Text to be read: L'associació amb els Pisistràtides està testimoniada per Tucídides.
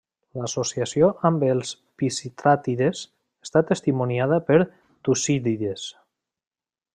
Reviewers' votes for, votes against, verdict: 0, 2, rejected